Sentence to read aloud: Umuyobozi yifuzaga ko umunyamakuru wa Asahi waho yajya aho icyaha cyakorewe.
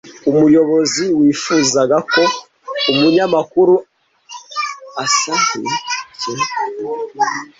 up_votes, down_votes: 0, 2